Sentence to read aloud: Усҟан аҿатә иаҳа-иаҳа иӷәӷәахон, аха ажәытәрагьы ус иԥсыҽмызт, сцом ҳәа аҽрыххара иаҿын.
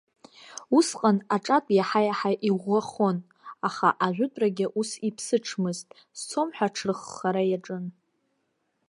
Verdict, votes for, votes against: accepted, 2, 0